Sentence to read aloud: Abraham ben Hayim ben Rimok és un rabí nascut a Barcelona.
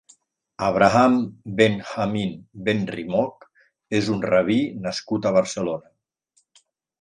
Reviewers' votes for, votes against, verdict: 1, 2, rejected